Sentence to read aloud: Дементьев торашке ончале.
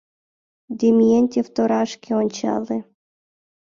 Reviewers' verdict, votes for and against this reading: rejected, 1, 2